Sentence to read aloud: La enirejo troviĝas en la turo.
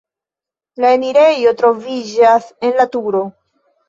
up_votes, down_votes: 2, 0